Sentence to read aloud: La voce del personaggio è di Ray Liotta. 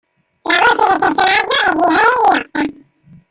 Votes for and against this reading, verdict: 0, 2, rejected